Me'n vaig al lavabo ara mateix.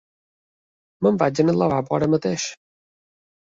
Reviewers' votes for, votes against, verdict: 2, 3, rejected